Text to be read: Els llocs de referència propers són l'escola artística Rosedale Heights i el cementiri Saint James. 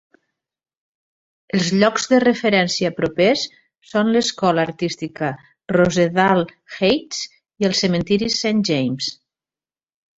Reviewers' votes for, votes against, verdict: 2, 0, accepted